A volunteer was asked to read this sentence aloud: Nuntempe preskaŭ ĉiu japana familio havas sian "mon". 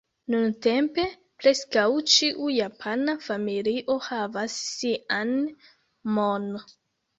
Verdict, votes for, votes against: rejected, 0, 2